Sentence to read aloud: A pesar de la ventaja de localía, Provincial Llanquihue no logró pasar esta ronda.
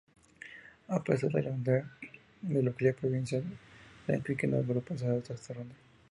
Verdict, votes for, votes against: rejected, 0, 2